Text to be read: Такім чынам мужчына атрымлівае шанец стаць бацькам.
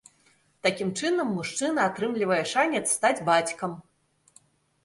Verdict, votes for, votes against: accepted, 2, 0